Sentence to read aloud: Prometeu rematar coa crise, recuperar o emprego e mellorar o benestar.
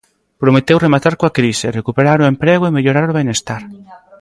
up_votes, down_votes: 2, 1